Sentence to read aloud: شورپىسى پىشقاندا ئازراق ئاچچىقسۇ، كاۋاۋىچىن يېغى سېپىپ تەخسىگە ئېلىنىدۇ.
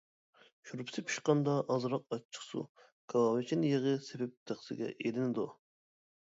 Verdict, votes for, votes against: accepted, 2, 0